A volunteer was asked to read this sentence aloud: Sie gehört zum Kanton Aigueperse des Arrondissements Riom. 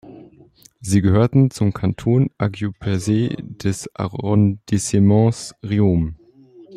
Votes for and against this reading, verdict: 1, 2, rejected